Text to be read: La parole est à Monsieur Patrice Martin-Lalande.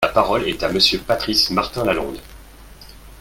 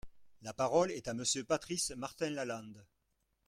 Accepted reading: first